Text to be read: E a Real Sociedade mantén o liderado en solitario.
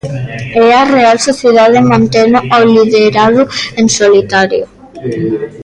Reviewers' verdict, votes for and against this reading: rejected, 0, 2